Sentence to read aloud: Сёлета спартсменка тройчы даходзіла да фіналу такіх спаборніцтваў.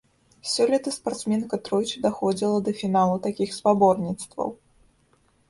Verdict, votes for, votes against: accepted, 2, 0